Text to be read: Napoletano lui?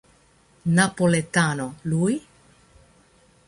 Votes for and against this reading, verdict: 1, 2, rejected